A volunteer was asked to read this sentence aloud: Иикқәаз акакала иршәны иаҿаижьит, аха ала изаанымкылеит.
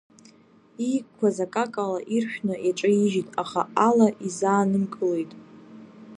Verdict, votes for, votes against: rejected, 0, 2